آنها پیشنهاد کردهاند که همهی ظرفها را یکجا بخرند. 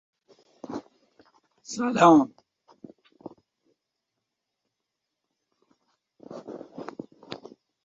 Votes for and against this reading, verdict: 0, 2, rejected